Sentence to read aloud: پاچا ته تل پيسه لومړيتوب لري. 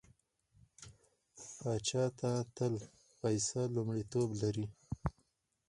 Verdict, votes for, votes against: rejected, 0, 4